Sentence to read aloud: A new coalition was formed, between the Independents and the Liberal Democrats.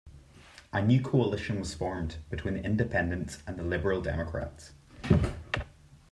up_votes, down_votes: 2, 0